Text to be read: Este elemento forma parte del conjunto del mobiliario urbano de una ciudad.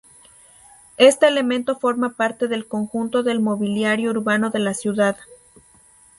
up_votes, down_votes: 2, 2